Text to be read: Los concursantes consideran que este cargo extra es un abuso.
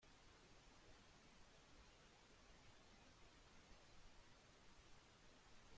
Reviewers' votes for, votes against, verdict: 0, 2, rejected